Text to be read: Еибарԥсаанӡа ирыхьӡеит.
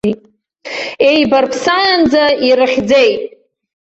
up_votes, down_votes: 1, 2